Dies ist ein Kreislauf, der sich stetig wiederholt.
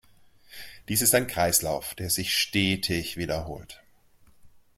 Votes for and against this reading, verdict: 2, 0, accepted